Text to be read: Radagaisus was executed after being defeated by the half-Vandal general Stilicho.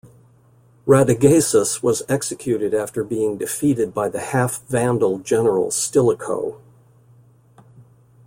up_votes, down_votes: 2, 0